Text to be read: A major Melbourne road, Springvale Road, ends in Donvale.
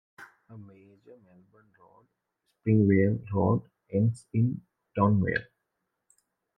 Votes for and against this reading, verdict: 0, 2, rejected